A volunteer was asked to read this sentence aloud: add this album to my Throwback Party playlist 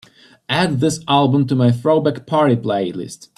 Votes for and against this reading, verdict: 3, 0, accepted